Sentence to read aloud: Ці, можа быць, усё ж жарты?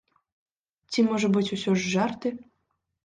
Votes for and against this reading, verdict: 3, 0, accepted